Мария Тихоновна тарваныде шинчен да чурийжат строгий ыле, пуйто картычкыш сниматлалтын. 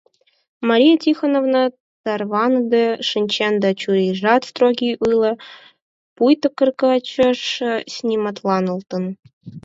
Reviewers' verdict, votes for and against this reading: rejected, 2, 4